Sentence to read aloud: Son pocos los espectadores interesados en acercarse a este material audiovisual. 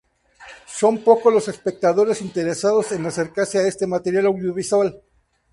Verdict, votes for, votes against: rejected, 2, 4